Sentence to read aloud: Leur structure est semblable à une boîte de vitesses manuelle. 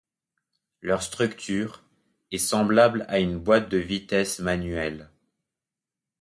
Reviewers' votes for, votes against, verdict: 2, 0, accepted